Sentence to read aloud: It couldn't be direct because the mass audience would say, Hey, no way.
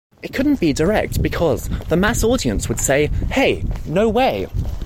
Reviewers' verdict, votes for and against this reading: accepted, 2, 0